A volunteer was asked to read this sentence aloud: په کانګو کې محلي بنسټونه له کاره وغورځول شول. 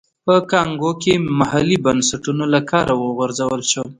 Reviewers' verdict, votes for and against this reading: accepted, 2, 0